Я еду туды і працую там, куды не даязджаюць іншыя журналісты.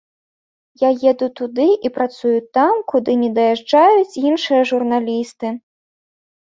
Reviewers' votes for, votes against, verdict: 3, 0, accepted